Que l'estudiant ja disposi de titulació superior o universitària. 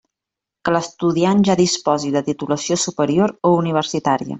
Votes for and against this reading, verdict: 3, 0, accepted